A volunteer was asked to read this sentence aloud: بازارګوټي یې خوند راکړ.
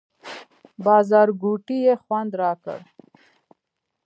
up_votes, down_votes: 2, 0